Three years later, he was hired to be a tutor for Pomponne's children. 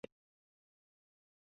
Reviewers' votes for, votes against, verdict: 0, 2, rejected